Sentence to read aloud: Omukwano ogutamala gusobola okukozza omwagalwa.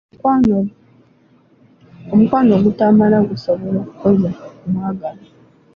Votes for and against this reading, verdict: 2, 1, accepted